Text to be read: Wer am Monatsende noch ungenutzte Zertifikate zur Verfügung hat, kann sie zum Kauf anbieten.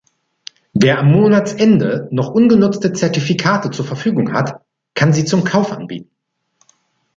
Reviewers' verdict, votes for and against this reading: accepted, 2, 0